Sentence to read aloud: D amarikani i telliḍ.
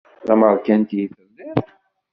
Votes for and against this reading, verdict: 0, 2, rejected